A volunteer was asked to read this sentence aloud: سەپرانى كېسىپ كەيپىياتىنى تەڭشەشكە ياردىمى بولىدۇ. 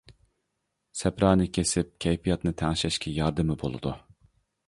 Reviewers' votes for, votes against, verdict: 2, 0, accepted